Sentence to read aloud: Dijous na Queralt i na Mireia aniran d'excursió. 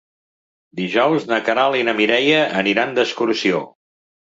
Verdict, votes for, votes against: accepted, 3, 0